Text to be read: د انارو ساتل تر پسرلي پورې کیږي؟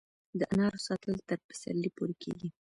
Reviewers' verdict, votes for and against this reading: rejected, 1, 2